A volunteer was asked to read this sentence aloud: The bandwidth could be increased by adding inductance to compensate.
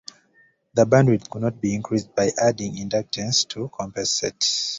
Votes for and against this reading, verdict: 1, 2, rejected